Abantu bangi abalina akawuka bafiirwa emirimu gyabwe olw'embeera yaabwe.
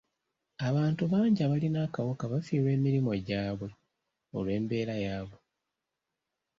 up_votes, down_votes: 2, 0